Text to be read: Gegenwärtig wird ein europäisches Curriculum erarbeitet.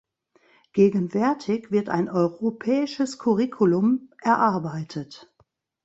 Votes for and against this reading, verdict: 0, 2, rejected